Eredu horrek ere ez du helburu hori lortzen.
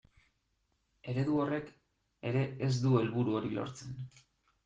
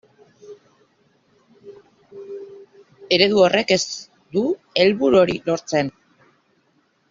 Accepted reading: first